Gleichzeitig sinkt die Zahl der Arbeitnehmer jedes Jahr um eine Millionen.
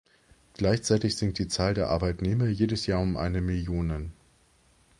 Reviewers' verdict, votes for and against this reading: accepted, 2, 0